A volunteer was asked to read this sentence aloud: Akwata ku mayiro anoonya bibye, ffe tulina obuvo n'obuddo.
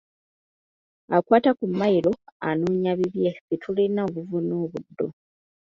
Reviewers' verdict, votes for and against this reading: accepted, 2, 1